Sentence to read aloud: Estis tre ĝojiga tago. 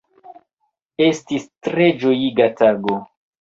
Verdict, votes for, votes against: rejected, 0, 2